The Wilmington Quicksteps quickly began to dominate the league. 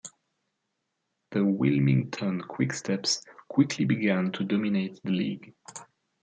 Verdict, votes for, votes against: accepted, 2, 0